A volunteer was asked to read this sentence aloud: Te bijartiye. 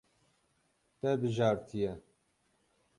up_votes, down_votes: 6, 0